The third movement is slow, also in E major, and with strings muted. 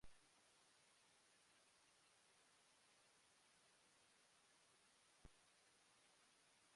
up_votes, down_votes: 0, 2